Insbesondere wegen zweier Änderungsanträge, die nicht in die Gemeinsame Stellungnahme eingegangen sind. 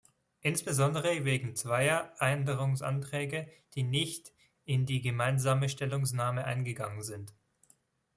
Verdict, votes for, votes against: rejected, 1, 2